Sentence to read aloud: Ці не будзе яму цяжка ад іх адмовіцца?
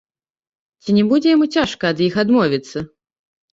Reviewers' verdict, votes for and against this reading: rejected, 1, 2